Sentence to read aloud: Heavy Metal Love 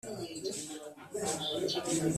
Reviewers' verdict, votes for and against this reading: rejected, 0, 3